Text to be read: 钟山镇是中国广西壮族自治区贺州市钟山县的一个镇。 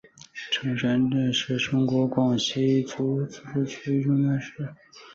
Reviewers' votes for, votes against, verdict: 2, 4, rejected